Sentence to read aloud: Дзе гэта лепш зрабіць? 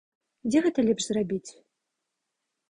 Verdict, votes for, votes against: accepted, 2, 0